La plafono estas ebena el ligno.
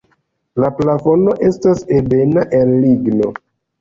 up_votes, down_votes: 1, 2